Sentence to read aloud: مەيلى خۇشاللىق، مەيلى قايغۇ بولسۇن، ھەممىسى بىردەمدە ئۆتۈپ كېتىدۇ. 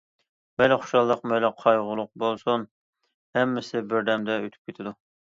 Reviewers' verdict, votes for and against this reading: rejected, 0, 2